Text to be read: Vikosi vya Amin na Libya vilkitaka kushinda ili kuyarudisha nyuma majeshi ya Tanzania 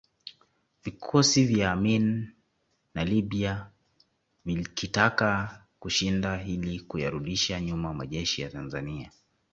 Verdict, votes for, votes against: accepted, 2, 0